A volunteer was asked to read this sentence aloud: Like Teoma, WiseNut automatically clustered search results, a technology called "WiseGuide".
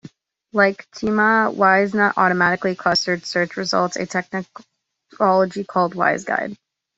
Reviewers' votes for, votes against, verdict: 2, 0, accepted